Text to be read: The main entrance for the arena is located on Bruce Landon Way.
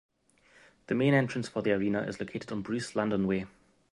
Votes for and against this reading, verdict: 2, 0, accepted